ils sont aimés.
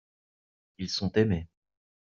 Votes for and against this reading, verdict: 2, 0, accepted